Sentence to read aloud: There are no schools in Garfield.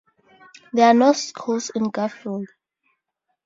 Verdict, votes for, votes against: rejected, 0, 2